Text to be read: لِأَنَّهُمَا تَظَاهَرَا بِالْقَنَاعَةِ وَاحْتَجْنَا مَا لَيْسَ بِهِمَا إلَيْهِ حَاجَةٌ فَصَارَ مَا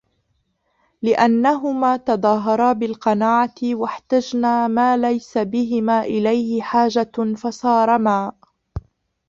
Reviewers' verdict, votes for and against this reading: rejected, 1, 2